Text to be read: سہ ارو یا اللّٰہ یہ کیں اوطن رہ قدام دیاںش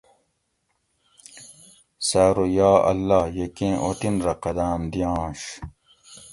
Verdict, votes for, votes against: accepted, 2, 0